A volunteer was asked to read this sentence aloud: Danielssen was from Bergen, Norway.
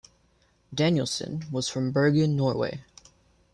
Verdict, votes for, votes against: accepted, 2, 0